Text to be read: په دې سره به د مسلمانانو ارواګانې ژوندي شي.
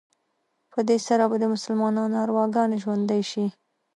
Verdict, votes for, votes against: accepted, 2, 1